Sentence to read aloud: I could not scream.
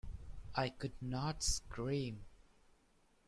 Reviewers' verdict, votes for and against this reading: rejected, 1, 2